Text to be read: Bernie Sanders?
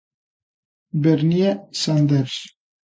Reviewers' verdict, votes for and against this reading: accepted, 2, 0